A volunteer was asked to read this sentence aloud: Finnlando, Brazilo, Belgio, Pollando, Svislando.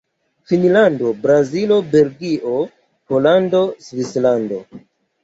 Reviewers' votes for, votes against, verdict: 1, 2, rejected